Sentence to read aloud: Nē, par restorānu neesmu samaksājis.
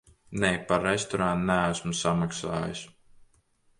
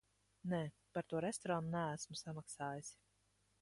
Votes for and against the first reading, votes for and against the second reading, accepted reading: 2, 0, 0, 2, first